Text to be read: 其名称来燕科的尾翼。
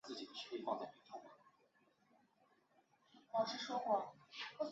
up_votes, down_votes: 1, 2